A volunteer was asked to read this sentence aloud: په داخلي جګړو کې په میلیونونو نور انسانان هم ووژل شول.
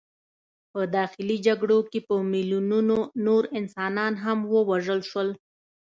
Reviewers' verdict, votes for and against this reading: accepted, 2, 0